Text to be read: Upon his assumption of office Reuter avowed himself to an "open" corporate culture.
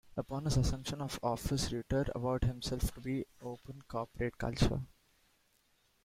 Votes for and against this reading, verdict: 0, 3, rejected